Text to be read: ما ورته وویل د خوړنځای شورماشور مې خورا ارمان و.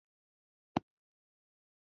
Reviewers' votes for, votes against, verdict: 1, 2, rejected